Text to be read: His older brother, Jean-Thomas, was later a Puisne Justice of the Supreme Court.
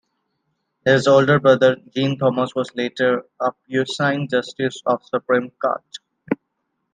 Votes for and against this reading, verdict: 0, 2, rejected